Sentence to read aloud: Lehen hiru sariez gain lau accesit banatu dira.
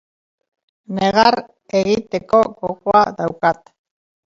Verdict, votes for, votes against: rejected, 1, 3